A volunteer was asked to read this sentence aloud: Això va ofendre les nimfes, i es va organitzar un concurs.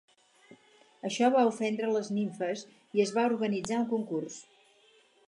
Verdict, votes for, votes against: accepted, 4, 0